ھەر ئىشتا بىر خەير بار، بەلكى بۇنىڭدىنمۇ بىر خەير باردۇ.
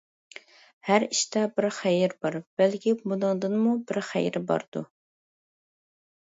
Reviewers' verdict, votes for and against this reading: rejected, 0, 2